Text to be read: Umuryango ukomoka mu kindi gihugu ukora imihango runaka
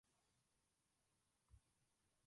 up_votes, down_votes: 0, 2